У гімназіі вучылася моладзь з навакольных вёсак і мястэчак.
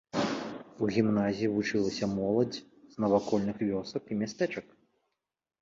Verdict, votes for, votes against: accepted, 2, 0